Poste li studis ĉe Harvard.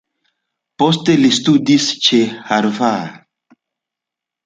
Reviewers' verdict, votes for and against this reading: rejected, 1, 2